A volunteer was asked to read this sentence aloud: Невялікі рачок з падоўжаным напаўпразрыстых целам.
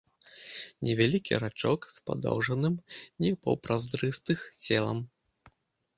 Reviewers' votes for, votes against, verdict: 1, 2, rejected